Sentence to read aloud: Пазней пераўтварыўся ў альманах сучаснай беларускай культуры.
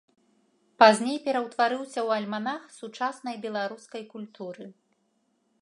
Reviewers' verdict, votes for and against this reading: accepted, 2, 0